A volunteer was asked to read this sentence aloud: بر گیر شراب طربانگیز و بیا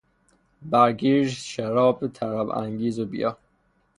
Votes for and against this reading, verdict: 0, 6, rejected